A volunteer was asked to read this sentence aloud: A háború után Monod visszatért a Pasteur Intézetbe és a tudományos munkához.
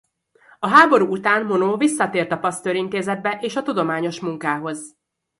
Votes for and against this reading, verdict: 0, 2, rejected